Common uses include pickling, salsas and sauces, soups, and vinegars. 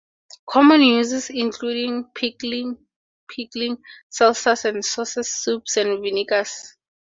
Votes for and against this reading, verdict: 0, 2, rejected